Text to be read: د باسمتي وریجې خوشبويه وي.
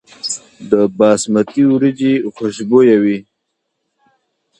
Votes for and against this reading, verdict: 2, 0, accepted